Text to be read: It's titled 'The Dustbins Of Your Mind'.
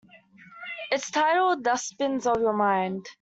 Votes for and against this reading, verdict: 0, 2, rejected